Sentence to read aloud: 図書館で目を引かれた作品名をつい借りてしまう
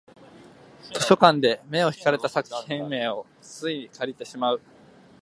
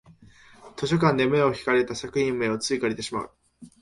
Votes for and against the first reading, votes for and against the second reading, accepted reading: 0, 2, 3, 0, second